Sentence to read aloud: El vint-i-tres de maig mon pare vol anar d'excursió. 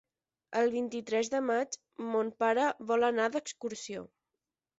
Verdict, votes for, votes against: accepted, 10, 0